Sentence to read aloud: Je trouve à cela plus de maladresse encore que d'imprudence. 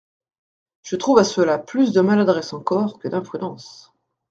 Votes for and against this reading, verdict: 2, 0, accepted